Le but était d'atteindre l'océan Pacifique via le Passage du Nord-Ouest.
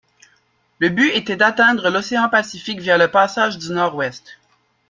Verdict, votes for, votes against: rejected, 0, 2